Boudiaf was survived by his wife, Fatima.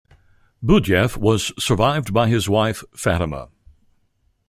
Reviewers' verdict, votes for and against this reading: accepted, 2, 0